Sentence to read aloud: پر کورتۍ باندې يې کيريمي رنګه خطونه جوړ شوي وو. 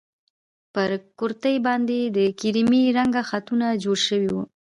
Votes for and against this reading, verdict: 2, 0, accepted